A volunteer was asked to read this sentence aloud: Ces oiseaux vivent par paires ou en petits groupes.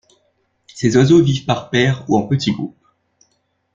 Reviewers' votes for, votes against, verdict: 2, 0, accepted